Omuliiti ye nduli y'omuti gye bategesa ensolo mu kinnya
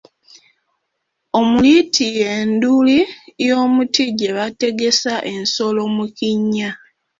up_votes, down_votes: 1, 2